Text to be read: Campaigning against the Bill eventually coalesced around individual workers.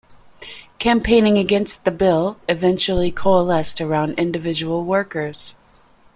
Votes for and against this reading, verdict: 2, 0, accepted